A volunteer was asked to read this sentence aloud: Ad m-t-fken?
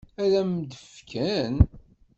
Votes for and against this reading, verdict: 1, 2, rejected